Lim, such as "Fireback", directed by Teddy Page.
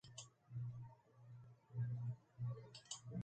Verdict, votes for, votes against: rejected, 0, 2